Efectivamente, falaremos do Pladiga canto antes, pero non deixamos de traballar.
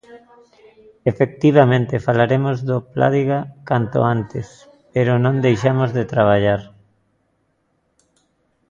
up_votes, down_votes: 0, 2